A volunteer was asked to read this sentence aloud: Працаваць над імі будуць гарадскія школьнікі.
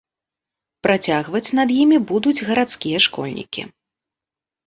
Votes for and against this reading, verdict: 0, 2, rejected